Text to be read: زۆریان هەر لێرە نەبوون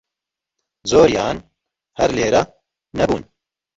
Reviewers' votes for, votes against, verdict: 0, 2, rejected